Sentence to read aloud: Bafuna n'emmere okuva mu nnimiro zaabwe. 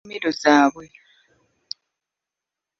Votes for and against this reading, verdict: 0, 2, rejected